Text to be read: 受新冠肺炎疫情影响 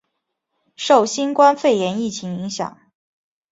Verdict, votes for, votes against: accepted, 3, 0